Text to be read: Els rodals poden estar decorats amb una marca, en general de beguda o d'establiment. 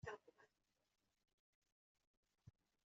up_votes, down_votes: 0, 2